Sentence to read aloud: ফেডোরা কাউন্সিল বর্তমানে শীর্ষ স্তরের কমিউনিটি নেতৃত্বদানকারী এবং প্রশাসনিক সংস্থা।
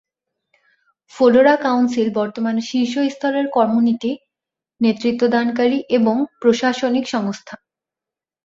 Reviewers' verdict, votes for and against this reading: rejected, 0, 2